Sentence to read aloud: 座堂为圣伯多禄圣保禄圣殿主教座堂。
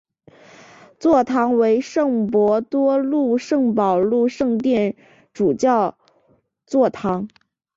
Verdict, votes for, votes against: accepted, 2, 0